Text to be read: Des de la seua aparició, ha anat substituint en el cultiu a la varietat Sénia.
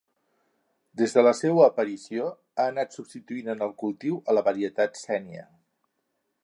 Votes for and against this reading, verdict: 2, 0, accepted